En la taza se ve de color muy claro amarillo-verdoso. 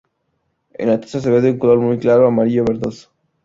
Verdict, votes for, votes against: accepted, 2, 0